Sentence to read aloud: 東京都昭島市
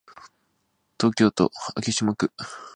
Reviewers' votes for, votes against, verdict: 1, 2, rejected